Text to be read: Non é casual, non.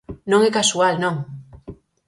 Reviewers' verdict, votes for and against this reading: accepted, 4, 0